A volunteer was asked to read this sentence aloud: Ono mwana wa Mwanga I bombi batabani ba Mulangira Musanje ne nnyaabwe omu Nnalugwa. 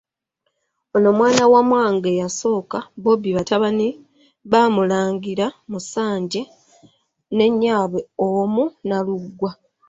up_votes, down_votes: 0, 2